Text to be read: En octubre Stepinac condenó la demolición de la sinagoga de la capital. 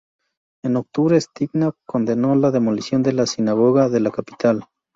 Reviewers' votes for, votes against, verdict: 2, 0, accepted